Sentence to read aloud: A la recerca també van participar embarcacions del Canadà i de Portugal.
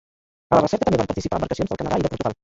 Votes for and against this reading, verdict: 0, 2, rejected